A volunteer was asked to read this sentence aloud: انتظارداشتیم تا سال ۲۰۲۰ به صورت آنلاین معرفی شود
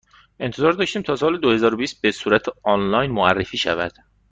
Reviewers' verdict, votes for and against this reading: rejected, 0, 2